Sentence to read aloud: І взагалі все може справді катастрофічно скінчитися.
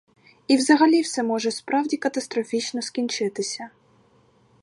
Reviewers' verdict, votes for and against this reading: rejected, 2, 2